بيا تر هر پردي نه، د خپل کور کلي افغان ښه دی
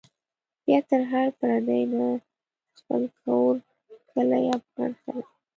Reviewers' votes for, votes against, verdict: 1, 2, rejected